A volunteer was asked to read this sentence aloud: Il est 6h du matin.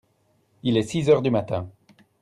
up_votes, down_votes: 0, 2